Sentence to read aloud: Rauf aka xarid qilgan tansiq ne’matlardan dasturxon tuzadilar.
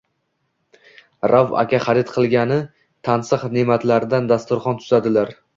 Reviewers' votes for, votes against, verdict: 2, 0, accepted